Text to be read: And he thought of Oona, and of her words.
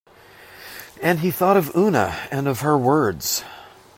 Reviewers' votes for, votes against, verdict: 2, 0, accepted